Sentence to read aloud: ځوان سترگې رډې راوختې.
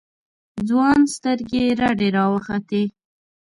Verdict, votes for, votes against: accepted, 2, 0